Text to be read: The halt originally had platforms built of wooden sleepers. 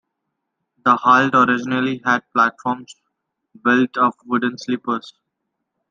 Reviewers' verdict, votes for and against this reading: accepted, 2, 0